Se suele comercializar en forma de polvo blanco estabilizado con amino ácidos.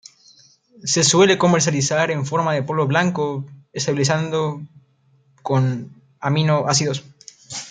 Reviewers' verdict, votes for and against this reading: rejected, 1, 2